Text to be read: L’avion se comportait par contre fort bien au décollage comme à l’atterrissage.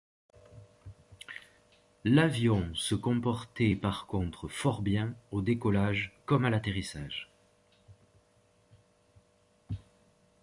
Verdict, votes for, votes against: accepted, 2, 0